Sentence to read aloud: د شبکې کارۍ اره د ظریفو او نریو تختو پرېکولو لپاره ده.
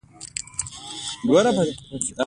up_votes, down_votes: 1, 2